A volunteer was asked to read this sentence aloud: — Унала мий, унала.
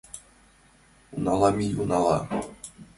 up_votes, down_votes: 3, 0